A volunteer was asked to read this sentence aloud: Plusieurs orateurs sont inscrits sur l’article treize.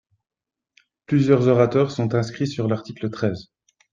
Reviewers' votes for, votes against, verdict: 3, 0, accepted